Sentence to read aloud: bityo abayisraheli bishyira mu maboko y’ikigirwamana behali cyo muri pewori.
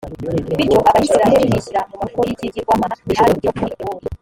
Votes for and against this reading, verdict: 0, 2, rejected